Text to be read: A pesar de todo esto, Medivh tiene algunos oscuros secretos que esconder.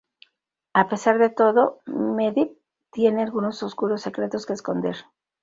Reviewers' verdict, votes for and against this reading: rejected, 0, 2